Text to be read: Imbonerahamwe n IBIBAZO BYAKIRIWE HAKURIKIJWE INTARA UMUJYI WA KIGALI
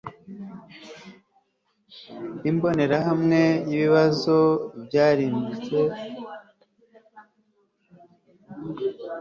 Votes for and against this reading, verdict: 1, 2, rejected